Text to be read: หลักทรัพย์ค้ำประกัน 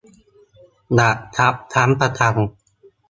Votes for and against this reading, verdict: 1, 2, rejected